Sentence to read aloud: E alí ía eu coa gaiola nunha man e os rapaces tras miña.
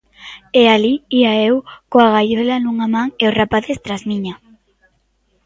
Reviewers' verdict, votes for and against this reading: accepted, 2, 0